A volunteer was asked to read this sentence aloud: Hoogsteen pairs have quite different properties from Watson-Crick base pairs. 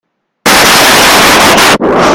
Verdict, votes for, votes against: rejected, 0, 2